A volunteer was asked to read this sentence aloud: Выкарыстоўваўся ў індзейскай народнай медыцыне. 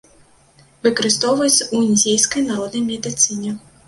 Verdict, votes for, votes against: rejected, 1, 2